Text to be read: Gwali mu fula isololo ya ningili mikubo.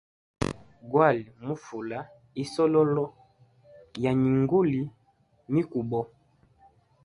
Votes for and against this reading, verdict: 1, 2, rejected